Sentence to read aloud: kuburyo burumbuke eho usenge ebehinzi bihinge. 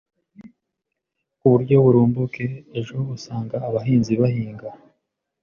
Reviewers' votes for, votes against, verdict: 0, 2, rejected